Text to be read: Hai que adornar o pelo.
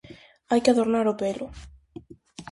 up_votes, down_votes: 2, 0